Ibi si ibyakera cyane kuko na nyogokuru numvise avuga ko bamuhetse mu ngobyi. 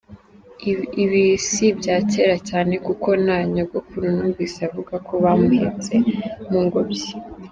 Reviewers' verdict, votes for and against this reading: rejected, 1, 2